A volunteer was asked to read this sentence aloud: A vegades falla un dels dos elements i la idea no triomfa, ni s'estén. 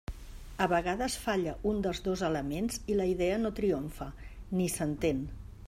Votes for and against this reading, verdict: 0, 2, rejected